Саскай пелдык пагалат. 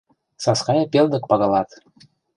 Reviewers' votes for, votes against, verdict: 2, 0, accepted